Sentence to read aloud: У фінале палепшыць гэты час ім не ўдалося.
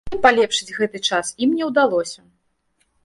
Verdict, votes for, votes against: rejected, 0, 2